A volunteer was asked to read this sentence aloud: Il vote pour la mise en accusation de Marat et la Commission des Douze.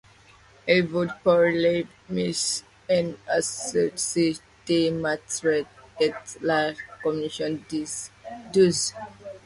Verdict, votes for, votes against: rejected, 1, 2